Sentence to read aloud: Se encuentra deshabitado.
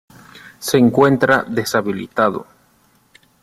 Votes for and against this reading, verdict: 0, 2, rejected